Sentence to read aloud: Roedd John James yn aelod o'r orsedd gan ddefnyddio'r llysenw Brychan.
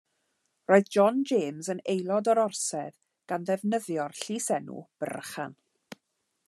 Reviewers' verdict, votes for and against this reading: accepted, 2, 0